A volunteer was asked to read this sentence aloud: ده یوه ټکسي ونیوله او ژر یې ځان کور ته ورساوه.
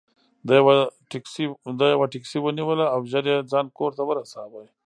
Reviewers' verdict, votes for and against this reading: accepted, 2, 0